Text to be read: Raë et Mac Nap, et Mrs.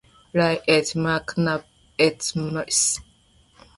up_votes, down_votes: 2, 1